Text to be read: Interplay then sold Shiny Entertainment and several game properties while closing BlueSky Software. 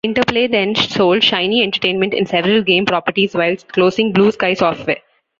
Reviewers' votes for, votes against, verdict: 0, 2, rejected